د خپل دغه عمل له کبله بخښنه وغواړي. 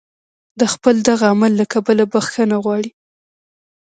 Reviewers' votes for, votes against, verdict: 2, 0, accepted